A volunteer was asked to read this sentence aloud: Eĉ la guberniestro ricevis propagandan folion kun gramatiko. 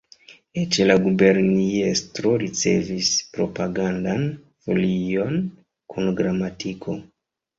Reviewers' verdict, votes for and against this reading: rejected, 1, 2